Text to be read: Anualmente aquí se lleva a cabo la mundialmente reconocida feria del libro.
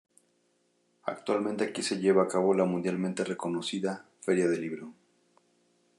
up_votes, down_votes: 0, 2